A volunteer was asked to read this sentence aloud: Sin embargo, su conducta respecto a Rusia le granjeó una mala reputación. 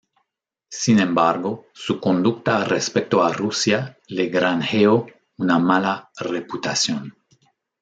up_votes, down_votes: 1, 2